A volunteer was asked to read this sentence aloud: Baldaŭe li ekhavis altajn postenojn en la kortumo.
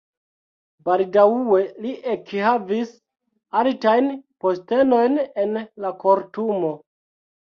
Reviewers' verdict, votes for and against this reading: rejected, 0, 2